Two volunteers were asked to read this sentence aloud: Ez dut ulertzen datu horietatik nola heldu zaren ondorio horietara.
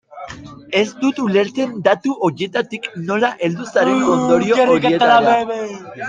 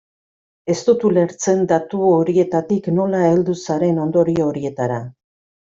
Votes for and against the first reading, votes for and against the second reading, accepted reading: 0, 2, 2, 0, second